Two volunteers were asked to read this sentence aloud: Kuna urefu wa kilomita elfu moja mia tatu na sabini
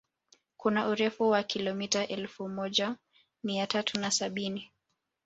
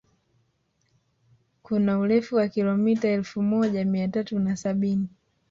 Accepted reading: second